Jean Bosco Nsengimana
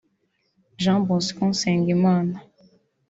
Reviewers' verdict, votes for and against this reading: rejected, 1, 2